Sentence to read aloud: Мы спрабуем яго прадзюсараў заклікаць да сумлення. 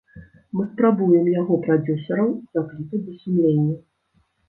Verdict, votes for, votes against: rejected, 1, 2